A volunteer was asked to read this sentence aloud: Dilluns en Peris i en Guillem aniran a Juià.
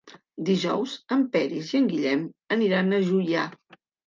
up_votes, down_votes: 1, 2